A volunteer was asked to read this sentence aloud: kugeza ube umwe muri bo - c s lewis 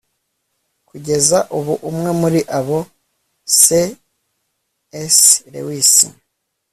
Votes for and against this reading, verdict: 0, 2, rejected